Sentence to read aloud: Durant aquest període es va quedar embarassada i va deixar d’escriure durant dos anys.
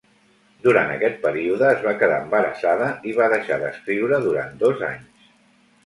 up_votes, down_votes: 3, 0